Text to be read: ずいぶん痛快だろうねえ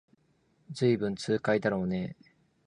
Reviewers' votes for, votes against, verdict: 5, 0, accepted